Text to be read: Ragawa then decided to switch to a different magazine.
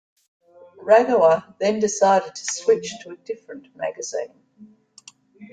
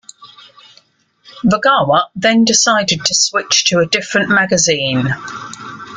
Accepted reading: second